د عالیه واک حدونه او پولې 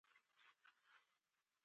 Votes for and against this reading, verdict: 0, 2, rejected